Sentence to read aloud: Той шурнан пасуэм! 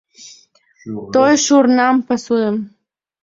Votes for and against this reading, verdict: 2, 0, accepted